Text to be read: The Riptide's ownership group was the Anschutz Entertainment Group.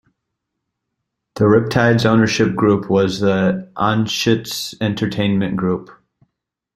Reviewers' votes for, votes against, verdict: 2, 0, accepted